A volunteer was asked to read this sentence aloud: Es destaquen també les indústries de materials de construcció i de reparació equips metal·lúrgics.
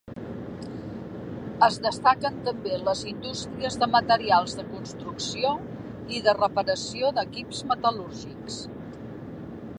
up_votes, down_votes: 2, 1